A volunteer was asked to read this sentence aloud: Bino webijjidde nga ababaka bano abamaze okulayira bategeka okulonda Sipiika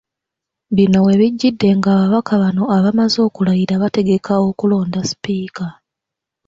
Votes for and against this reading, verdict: 2, 0, accepted